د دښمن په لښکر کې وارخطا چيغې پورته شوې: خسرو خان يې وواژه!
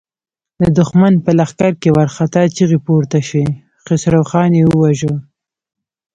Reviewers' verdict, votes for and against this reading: rejected, 1, 2